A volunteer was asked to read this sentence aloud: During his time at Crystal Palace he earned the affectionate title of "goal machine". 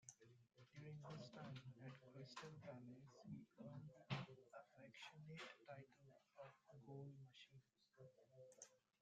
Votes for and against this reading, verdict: 0, 2, rejected